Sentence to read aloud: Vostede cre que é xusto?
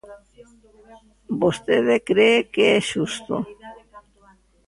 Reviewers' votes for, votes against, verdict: 0, 2, rejected